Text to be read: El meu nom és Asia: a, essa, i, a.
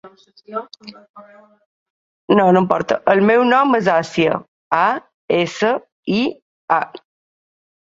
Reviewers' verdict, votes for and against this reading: rejected, 0, 2